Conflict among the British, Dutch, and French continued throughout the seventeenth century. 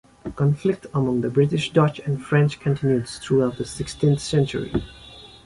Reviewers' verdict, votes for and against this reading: rejected, 1, 2